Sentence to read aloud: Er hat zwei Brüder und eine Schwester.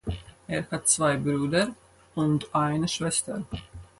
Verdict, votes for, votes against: accepted, 4, 2